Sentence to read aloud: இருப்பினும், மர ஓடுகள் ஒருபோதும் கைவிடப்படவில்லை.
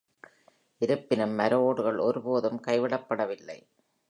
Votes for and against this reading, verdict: 3, 0, accepted